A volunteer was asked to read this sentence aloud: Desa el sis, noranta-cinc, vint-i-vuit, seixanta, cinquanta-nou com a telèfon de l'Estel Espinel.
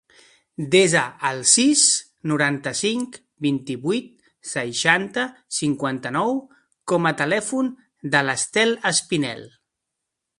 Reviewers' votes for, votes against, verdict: 2, 0, accepted